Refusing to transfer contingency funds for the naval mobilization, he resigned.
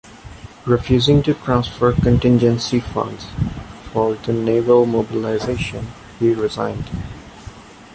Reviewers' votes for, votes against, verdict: 2, 1, accepted